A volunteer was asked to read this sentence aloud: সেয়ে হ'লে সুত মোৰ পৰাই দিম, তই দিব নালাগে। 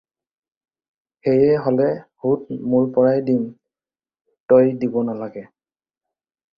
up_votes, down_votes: 0, 2